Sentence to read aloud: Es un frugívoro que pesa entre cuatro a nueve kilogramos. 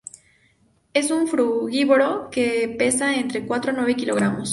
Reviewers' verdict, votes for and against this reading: accepted, 2, 0